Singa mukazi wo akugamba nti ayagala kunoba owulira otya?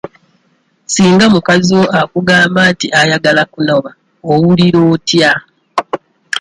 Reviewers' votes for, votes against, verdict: 2, 0, accepted